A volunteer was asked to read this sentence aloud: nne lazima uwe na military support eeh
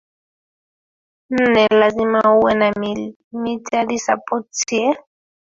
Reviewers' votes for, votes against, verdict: 0, 2, rejected